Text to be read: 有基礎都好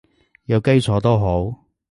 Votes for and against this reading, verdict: 2, 0, accepted